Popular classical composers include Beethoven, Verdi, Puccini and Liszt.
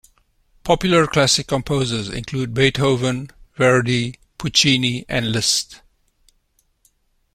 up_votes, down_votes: 2, 0